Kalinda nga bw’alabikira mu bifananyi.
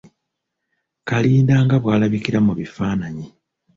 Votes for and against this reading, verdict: 0, 2, rejected